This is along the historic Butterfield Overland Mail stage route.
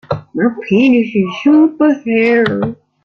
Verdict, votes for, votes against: rejected, 0, 2